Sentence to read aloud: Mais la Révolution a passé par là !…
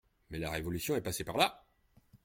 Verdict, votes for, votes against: rejected, 0, 2